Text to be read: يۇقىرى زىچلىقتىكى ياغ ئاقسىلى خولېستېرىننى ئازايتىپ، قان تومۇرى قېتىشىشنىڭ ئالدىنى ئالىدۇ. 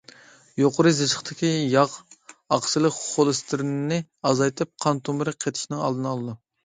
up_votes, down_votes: 0, 2